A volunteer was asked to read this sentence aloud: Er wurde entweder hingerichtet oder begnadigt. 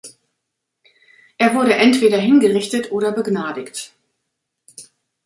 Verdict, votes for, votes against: accepted, 2, 0